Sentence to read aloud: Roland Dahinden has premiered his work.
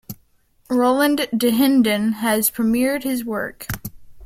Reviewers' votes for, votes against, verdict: 2, 0, accepted